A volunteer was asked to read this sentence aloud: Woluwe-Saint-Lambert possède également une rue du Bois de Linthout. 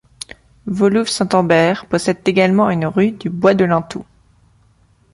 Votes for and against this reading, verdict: 1, 2, rejected